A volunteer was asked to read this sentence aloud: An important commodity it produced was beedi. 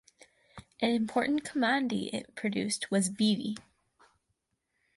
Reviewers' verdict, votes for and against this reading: accepted, 4, 0